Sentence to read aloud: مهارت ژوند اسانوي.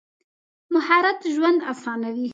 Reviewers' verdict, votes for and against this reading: accepted, 2, 0